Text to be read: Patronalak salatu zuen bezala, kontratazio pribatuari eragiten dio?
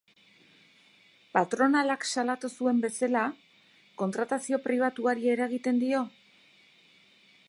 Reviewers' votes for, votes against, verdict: 2, 4, rejected